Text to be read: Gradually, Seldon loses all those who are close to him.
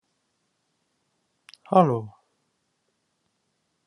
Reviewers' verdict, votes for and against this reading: rejected, 0, 2